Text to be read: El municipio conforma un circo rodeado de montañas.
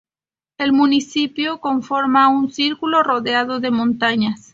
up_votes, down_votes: 0, 2